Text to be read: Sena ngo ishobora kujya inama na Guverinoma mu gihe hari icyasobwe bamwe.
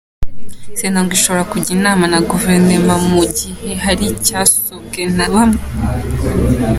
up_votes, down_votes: 0, 3